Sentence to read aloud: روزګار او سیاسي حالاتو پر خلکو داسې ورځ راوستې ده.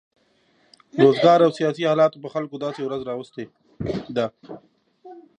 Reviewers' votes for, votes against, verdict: 2, 0, accepted